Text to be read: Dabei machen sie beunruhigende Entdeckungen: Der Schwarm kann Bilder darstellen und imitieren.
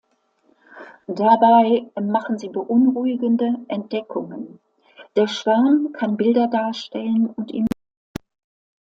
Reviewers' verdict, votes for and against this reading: rejected, 0, 2